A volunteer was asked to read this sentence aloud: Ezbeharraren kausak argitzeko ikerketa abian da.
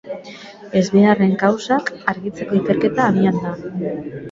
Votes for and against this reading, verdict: 0, 2, rejected